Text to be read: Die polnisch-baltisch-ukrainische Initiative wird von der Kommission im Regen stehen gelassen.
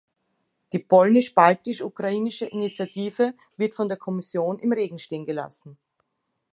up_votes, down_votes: 2, 0